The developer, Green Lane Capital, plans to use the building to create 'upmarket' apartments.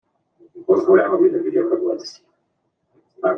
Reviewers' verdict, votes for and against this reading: rejected, 0, 2